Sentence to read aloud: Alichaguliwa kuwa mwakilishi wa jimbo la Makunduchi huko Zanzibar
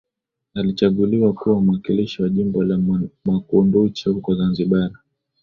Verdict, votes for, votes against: accepted, 18, 0